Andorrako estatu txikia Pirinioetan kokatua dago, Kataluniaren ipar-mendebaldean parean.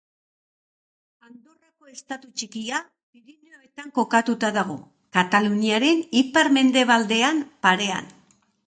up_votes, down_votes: 0, 3